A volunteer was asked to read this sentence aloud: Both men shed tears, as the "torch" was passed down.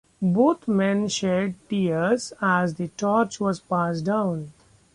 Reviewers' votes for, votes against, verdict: 0, 2, rejected